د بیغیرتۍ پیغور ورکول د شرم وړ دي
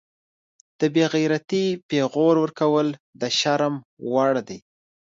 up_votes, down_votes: 2, 0